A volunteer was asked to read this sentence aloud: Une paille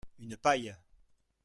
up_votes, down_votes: 1, 2